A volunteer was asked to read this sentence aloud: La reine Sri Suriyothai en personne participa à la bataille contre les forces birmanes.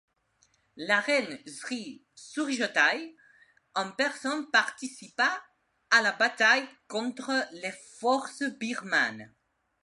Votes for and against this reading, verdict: 2, 0, accepted